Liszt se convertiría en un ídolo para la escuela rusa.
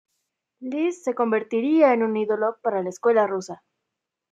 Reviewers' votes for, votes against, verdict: 1, 2, rejected